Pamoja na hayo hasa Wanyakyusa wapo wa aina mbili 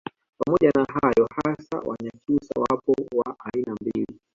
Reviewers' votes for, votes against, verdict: 2, 0, accepted